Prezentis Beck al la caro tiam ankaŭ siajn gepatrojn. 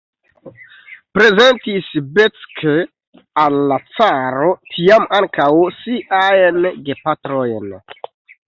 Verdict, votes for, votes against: rejected, 0, 2